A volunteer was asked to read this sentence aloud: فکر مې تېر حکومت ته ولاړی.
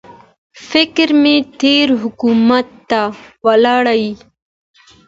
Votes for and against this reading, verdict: 2, 0, accepted